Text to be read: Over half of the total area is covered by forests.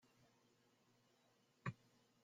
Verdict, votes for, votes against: rejected, 0, 2